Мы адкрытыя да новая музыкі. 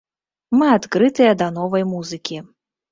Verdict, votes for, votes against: rejected, 1, 2